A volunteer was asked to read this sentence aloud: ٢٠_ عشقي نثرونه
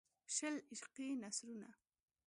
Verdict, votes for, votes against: rejected, 0, 2